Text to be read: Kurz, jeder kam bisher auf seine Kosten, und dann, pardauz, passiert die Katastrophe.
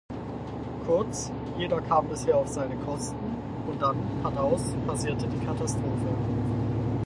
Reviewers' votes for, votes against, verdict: 0, 4, rejected